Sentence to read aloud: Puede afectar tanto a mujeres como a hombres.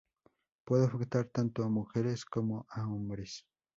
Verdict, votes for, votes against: rejected, 0, 2